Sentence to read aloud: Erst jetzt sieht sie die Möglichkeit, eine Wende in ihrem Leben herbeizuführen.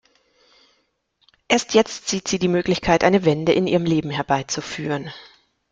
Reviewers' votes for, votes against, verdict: 2, 0, accepted